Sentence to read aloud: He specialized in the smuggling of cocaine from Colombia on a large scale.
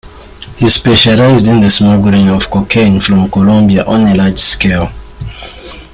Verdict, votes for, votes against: accepted, 3, 0